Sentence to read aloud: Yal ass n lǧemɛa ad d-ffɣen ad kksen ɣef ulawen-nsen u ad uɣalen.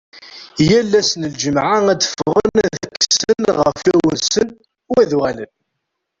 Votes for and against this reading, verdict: 1, 2, rejected